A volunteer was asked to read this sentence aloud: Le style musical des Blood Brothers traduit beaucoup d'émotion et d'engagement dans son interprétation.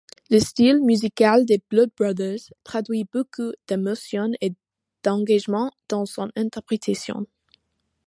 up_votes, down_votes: 2, 0